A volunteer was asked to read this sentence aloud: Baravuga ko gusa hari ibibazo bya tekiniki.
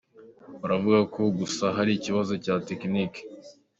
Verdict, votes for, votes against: accepted, 2, 0